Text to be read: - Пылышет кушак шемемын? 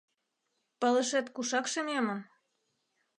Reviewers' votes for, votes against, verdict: 2, 1, accepted